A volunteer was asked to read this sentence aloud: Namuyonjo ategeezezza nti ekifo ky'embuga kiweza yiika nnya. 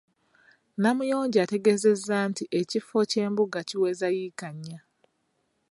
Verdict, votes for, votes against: rejected, 0, 2